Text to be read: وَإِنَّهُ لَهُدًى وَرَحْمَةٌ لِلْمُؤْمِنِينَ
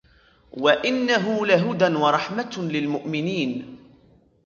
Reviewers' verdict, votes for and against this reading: accepted, 2, 1